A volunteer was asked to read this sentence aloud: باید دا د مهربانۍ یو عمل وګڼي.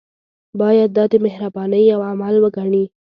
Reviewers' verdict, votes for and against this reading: accepted, 2, 0